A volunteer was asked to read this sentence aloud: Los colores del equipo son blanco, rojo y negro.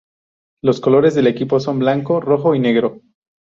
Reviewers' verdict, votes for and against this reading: rejected, 2, 2